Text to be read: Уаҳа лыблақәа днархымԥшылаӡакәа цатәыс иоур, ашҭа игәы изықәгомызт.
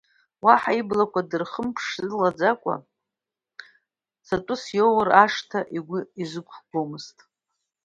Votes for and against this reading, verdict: 1, 2, rejected